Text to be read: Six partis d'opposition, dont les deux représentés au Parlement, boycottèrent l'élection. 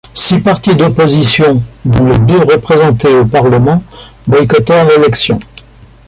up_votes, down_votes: 2, 0